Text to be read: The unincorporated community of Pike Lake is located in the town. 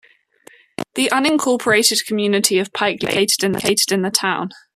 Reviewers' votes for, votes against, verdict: 1, 2, rejected